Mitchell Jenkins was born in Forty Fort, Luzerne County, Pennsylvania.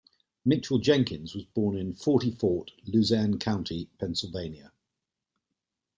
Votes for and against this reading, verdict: 2, 0, accepted